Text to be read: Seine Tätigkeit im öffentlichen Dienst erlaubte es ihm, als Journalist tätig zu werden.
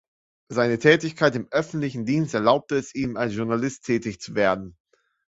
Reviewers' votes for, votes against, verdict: 2, 0, accepted